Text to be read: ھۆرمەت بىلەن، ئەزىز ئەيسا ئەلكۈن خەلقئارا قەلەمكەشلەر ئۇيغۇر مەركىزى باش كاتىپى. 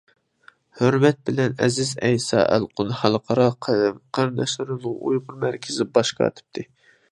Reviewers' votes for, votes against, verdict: 0, 2, rejected